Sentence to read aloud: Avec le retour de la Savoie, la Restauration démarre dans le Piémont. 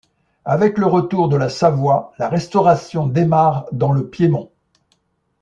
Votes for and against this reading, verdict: 2, 0, accepted